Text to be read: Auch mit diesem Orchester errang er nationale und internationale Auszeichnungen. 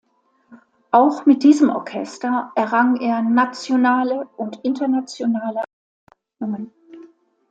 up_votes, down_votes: 0, 2